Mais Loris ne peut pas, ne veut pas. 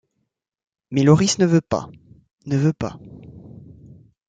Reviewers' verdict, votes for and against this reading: rejected, 1, 2